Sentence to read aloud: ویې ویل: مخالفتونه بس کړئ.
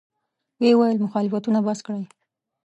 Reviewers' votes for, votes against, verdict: 2, 0, accepted